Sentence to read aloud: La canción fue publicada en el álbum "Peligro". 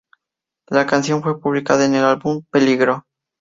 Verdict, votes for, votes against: accepted, 4, 0